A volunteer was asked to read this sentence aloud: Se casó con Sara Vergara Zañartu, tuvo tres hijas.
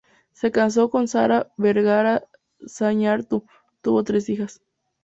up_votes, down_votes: 4, 4